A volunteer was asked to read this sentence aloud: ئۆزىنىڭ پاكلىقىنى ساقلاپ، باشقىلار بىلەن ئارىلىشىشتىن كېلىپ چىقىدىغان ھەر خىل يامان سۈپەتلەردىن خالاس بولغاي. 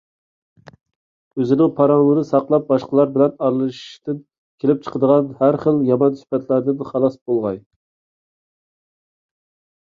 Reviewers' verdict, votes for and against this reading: rejected, 0, 2